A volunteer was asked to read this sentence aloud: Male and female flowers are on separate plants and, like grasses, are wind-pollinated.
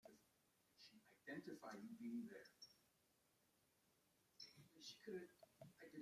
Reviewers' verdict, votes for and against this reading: rejected, 0, 2